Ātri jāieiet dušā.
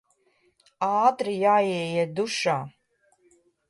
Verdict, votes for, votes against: accepted, 2, 0